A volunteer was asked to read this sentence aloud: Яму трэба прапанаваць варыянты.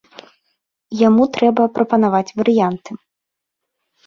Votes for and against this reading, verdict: 3, 0, accepted